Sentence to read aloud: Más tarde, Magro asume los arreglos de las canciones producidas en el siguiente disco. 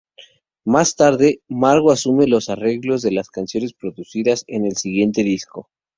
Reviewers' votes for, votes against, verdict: 2, 0, accepted